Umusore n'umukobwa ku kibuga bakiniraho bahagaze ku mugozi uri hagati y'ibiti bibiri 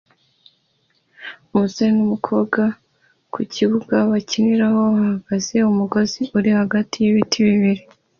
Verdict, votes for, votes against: accepted, 2, 0